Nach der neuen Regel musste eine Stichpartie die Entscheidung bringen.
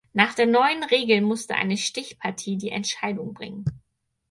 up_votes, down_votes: 4, 0